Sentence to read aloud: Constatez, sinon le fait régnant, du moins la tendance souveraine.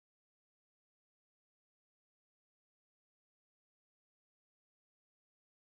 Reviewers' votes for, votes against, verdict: 0, 2, rejected